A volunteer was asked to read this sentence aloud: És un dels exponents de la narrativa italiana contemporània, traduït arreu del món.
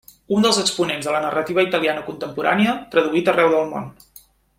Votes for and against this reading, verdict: 2, 0, accepted